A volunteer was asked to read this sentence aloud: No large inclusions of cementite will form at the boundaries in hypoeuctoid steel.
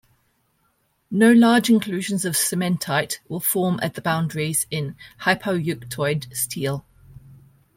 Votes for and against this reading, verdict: 1, 2, rejected